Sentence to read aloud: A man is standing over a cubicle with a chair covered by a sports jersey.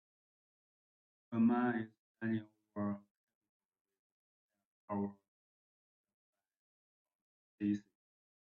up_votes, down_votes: 0, 2